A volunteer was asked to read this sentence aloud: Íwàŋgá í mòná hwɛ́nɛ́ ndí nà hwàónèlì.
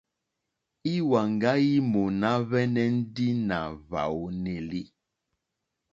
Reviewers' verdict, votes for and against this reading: accepted, 2, 0